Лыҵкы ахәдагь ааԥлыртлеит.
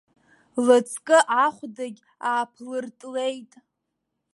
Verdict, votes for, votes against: accepted, 2, 0